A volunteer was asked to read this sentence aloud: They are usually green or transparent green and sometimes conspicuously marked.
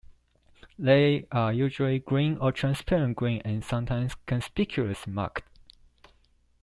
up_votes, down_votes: 1, 2